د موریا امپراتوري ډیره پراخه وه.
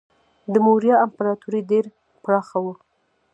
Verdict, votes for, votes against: rejected, 1, 2